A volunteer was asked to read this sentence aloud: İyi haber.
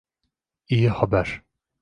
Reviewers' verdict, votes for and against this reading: accepted, 2, 0